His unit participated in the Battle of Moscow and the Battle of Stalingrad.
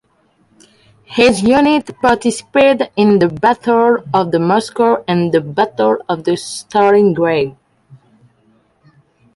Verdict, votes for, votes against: rejected, 0, 2